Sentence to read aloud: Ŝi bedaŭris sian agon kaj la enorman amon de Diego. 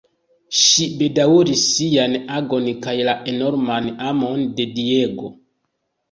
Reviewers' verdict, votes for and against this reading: accepted, 2, 0